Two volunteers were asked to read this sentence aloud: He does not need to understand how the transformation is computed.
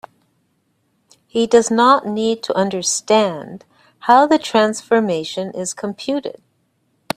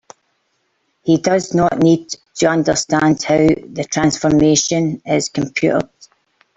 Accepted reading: first